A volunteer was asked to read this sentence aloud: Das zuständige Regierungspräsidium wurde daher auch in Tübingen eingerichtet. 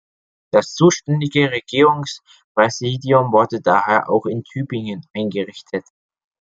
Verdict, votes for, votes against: accepted, 2, 0